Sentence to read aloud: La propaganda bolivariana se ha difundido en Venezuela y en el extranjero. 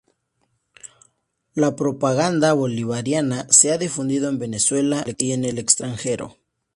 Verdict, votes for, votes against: accepted, 2, 0